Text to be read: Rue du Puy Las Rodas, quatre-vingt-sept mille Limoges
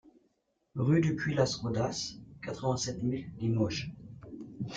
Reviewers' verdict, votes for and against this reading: accepted, 2, 0